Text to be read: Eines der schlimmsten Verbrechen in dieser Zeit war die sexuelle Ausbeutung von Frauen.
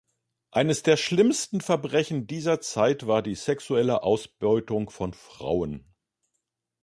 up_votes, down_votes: 0, 2